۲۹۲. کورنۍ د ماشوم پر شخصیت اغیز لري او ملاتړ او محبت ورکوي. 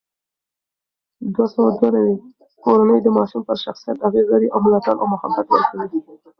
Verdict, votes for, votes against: rejected, 0, 2